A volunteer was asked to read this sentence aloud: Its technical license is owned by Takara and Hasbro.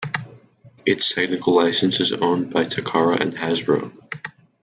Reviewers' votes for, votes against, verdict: 2, 0, accepted